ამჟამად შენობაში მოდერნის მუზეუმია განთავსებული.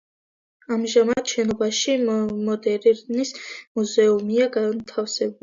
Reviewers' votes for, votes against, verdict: 1, 2, rejected